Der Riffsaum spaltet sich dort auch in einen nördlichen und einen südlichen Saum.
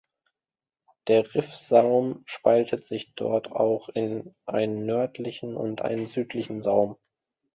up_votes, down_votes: 2, 0